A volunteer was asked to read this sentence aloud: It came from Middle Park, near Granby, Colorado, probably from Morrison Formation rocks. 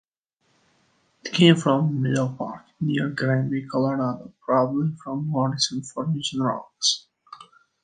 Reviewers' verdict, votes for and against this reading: rejected, 1, 4